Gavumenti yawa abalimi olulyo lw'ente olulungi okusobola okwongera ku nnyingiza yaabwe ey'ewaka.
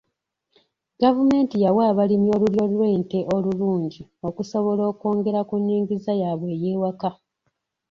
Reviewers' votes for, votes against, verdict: 2, 0, accepted